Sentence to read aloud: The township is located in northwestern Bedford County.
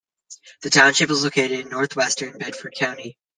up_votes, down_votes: 2, 0